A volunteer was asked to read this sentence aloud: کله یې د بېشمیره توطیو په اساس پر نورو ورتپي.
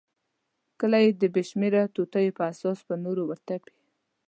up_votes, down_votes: 1, 2